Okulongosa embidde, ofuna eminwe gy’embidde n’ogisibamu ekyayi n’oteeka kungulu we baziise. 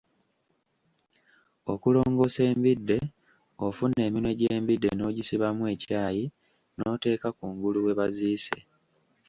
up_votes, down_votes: 2, 0